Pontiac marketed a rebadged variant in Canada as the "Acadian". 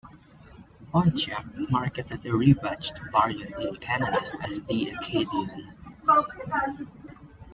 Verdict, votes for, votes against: rejected, 0, 2